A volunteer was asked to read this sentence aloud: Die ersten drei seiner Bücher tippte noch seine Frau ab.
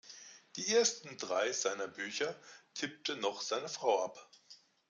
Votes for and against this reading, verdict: 2, 0, accepted